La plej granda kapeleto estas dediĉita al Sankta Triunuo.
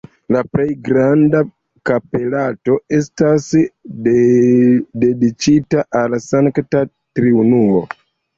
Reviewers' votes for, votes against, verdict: 2, 0, accepted